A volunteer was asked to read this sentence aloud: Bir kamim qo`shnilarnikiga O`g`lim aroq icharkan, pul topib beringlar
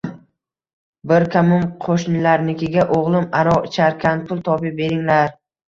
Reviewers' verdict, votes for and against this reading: accepted, 2, 1